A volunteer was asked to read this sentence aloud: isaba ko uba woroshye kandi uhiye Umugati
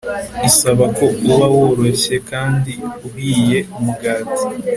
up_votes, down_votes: 2, 0